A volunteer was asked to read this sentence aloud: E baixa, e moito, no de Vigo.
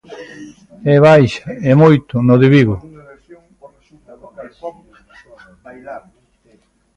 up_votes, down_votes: 1, 2